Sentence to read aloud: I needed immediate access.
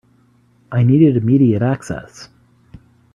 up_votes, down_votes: 3, 0